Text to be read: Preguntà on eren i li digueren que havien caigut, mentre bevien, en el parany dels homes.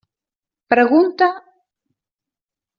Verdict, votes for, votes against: rejected, 0, 2